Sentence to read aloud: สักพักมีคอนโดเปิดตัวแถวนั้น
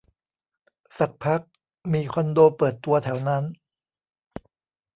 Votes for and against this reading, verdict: 2, 1, accepted